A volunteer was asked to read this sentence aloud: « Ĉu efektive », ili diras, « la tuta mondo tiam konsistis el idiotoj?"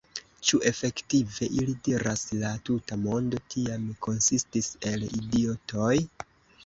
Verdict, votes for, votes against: rejected, 1, 2